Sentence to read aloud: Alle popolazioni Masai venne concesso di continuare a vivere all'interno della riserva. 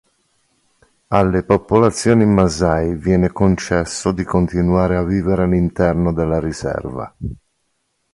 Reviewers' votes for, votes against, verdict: 2, 0, accepted